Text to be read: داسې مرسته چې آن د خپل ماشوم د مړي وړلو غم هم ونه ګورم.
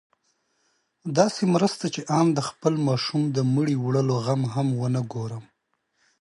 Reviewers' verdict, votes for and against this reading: accepted, 2, 0